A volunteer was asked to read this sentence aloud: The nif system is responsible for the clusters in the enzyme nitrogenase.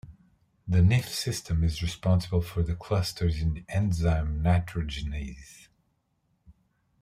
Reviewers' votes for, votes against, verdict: 1, 2, rejected